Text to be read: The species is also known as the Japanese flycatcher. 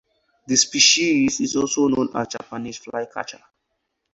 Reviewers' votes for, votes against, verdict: 2, 4, rejected